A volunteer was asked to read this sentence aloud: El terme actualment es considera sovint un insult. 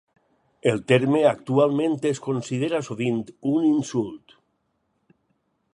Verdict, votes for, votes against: accepted, 6, 0